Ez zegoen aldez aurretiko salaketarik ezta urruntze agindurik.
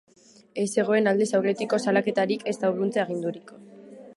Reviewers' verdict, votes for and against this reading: accepted, 2, 0